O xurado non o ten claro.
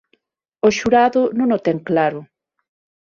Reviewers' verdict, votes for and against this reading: accepted, 6, 0